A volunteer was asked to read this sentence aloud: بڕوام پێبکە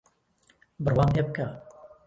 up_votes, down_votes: 1, 2